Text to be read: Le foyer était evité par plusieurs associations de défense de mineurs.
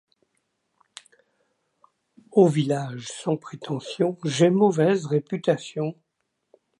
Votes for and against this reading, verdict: 0, 2, rejected